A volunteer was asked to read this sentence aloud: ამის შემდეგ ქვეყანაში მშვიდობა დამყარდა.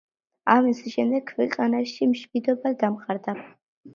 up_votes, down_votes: 2, 0